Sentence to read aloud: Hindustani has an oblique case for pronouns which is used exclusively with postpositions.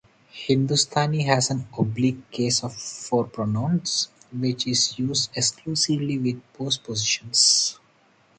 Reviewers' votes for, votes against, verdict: 0, 2, rejected